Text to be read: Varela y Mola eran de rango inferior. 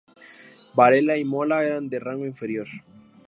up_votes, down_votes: 2, 0